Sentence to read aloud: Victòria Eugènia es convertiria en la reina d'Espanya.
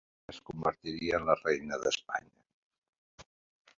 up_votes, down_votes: 0, 5